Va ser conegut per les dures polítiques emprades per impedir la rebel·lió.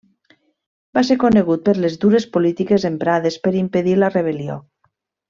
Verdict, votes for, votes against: accepted, 3, 0